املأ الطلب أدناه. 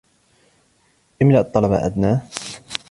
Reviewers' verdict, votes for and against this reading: accepted, 2, 1